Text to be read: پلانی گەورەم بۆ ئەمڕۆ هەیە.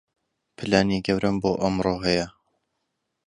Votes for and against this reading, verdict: 2, 0, accepted